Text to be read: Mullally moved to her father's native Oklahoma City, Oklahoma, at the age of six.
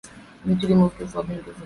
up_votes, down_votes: 0, 2